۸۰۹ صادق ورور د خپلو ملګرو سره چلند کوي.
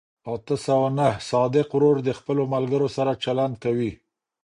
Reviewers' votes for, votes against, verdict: 0, 2, rejected